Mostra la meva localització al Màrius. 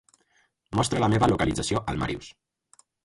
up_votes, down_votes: 4, 0